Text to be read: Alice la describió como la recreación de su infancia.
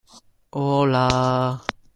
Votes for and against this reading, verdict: 0, 2, rejected